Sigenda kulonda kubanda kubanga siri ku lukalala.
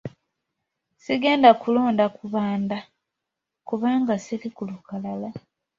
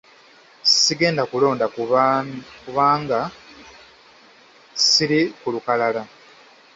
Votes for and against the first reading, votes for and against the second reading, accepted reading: 2, 0, 1, 2, first